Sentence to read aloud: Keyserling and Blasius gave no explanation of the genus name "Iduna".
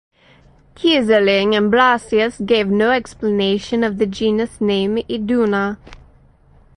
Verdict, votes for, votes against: rejected, 4, 4